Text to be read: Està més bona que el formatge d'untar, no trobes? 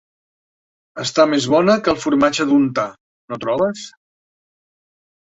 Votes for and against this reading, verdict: 2, 0, accepted